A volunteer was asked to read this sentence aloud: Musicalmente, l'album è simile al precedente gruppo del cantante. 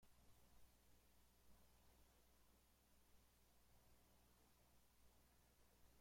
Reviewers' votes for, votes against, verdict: 0, 2, rejected